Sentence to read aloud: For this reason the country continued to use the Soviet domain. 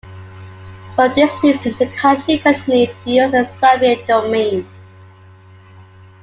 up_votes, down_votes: 1, 2